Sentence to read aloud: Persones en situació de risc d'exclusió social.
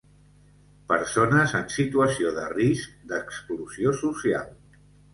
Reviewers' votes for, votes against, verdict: 2, 0, accepted